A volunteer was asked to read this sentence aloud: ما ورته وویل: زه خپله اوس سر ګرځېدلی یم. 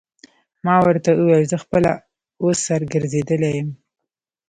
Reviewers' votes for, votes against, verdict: 2, 0, accepted